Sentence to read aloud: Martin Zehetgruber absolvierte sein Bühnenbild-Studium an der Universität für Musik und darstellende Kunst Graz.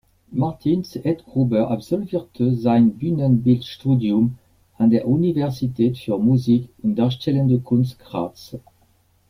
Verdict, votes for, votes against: accepted, 2, 0